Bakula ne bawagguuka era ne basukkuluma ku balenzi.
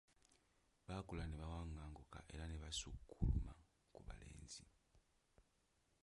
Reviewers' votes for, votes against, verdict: 1, 2, rejected